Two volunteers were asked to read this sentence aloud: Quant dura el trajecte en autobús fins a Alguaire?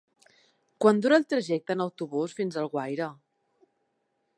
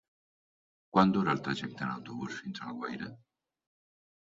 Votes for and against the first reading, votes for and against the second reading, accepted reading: 3, 0, 1, 2, first